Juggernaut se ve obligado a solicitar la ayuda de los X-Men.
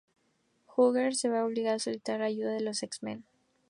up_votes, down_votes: 0, 2